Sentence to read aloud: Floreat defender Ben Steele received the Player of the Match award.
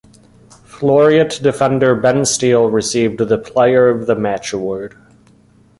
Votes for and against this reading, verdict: 0, 2, rejected